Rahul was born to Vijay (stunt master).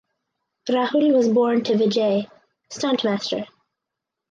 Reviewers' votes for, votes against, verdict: 4, 0, accepted